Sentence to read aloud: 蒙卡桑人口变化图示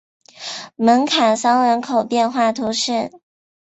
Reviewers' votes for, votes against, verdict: 2, 0, accepted